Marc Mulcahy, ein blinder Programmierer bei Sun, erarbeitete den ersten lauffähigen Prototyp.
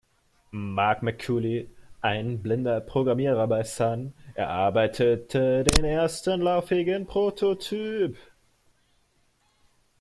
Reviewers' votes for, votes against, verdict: 0, 2, rejected